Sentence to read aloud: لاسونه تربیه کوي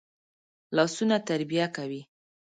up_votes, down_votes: 2, 0